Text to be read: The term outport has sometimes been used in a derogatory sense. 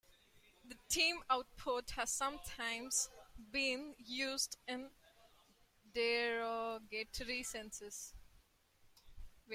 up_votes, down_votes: 0, 2